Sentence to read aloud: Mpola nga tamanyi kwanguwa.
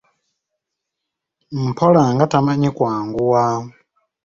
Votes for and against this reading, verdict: 2, 0, accepted